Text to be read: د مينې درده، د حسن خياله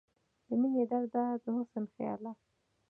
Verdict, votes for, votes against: rejected, 0, 2